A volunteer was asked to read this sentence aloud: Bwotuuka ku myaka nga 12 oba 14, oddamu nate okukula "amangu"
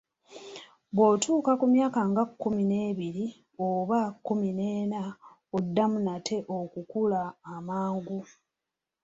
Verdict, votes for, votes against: rejected, 0, 2